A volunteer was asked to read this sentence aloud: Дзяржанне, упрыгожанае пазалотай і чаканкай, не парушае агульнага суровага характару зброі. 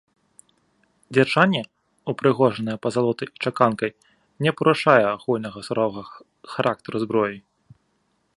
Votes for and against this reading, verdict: 2, 0, accepted